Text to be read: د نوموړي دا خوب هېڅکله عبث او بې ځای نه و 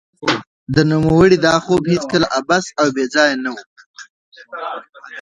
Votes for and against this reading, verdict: 1, 2, rejected